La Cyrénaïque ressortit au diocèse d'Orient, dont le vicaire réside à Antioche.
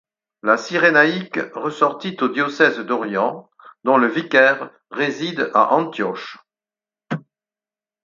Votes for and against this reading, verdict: 4, 0, accepted